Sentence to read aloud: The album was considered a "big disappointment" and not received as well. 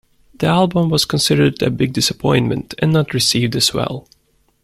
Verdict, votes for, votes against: accepted, 2, 0